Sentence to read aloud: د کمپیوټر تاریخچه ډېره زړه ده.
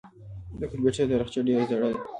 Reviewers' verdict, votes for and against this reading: accepted, 2, 1